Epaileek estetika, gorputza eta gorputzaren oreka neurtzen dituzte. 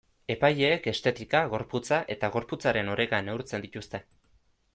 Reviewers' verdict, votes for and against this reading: accepted, 2, 0